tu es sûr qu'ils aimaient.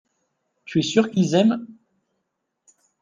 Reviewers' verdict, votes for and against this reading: rejected, 0, 2